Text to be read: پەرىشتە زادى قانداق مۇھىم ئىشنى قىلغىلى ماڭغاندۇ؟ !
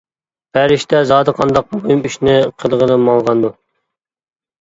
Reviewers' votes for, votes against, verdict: 0, 2, rejected